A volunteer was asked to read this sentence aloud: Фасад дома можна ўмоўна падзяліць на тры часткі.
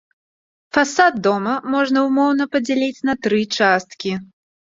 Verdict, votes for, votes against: accepted, 2, 0